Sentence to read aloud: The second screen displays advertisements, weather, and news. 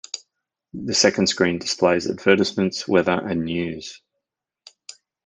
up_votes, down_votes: 2, 0